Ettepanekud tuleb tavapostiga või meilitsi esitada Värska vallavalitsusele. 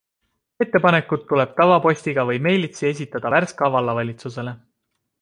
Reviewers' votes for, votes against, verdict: 2, 0, accepted